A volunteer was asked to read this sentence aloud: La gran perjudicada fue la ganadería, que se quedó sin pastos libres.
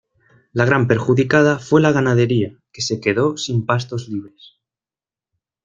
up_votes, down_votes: 2, 0